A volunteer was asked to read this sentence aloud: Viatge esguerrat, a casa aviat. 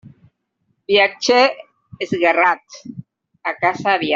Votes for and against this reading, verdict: 1, 2, rejected